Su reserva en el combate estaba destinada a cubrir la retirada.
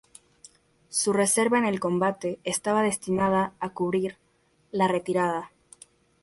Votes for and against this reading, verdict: 4, 0, accepted